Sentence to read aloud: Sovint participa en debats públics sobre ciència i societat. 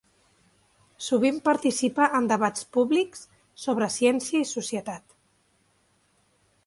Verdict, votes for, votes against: accepted, 3, 0